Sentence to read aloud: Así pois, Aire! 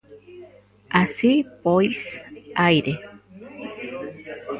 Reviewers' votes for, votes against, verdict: 1, 2, rejected